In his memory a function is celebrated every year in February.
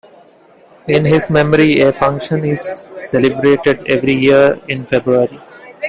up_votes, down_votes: 2, 0